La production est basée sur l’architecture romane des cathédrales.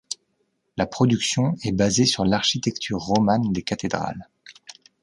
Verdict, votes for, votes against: accepted, 2, 0